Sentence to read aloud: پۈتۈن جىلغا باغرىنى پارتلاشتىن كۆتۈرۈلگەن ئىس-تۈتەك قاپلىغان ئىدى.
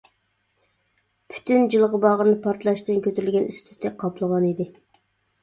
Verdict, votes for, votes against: rejected, 0, 2